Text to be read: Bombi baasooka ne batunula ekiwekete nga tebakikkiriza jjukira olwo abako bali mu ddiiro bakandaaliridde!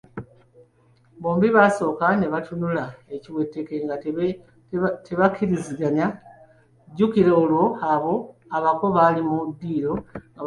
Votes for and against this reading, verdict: 0, 2, rejected